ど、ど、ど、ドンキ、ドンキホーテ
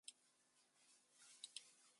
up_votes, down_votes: 0, 2